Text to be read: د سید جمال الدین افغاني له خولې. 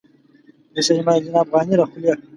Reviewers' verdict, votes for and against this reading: rejected, 1, 2